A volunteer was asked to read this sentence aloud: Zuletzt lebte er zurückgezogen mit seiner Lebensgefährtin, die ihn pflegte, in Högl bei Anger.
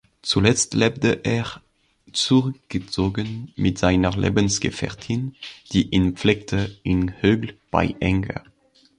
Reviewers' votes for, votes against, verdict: 0, 2, rejected